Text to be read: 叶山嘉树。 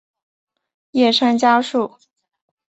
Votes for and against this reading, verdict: 3, 0, accepted